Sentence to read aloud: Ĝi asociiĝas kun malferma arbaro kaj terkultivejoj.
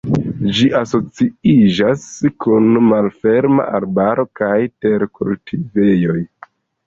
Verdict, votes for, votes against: accepted, 2, 0